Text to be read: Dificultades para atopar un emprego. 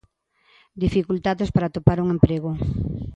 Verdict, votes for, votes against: accepted, 2, 0